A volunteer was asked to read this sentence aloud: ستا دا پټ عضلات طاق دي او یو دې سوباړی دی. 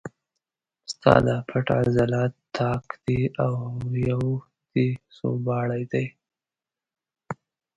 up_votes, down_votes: 0, 2